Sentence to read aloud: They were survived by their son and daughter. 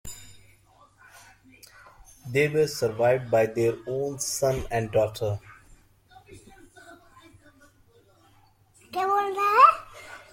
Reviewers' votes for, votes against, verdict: 0, 2, rejected